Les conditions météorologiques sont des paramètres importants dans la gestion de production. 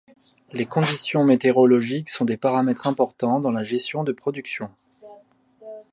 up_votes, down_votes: 0, 2